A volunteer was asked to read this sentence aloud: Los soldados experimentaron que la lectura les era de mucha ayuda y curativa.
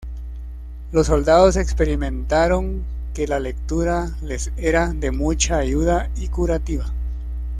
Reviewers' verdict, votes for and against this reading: accepted, 2, 0